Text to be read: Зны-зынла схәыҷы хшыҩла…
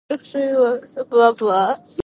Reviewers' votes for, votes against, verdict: 0, 2, rejected